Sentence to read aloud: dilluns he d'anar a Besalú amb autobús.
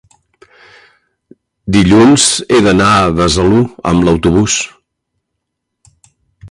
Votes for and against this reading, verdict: 0, 2, rejected